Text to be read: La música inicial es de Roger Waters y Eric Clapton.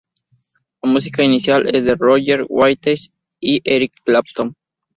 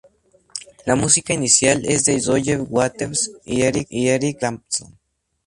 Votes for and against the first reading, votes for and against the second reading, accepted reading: 0, 2, 2, 0, second